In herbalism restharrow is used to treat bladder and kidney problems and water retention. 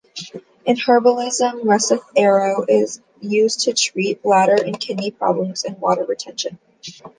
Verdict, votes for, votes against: rejected, 0, 2